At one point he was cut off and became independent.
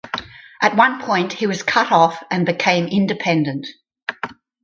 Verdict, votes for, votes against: accepted, 4, 0